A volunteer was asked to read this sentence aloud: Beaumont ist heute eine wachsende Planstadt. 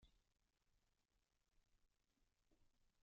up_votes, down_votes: 1, 2